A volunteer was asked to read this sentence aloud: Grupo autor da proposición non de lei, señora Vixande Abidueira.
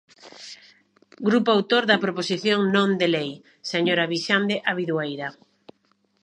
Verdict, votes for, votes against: accepted, 2, 0